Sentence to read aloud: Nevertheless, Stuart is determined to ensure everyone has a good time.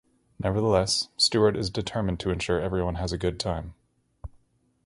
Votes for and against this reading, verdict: 2, 0, accepted